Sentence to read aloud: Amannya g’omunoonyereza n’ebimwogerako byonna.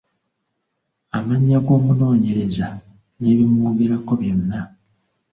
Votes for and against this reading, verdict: 2, 0, accepted